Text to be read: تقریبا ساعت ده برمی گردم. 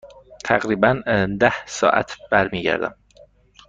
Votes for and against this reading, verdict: 1, 2, rejected